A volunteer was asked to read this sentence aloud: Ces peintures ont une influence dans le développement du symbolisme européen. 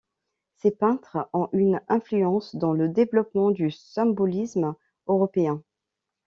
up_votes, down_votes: 0, 2